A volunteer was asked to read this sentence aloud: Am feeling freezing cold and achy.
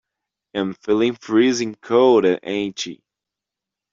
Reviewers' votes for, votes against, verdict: 0, 2, rejected